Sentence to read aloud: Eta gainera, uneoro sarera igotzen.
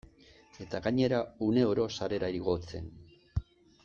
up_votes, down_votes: 2, 0